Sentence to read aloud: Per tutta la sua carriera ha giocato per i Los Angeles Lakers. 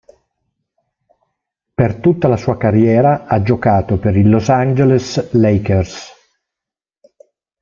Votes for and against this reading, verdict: 1, 2, rejected